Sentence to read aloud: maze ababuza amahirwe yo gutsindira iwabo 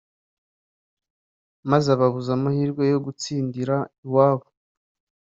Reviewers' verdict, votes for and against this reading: accepted, 3, 0